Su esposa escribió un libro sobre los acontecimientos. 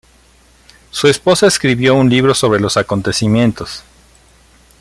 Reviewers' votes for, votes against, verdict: 2, 0, accepted